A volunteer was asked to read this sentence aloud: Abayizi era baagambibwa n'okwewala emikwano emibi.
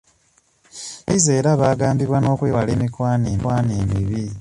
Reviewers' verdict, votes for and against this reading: rejected, 0, 2